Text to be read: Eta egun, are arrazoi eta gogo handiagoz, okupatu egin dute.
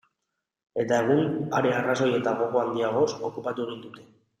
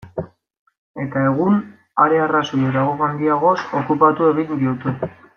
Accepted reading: first